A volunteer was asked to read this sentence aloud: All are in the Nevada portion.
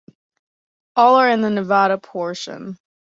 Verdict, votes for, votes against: accepted, 2, 0